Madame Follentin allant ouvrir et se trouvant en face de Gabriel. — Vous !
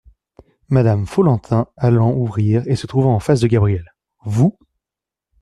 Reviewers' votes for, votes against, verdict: 2, 0, accepted